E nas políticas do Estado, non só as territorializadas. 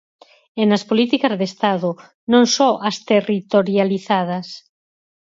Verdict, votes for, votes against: rejected, 2, 6